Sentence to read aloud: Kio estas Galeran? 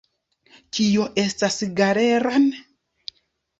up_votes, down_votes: 1, 2